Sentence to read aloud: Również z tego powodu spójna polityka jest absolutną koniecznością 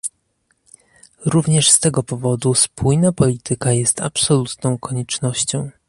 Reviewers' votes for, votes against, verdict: 2, 0, accepted